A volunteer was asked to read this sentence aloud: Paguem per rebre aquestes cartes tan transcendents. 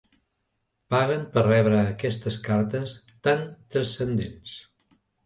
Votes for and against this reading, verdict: 1, 2, rejected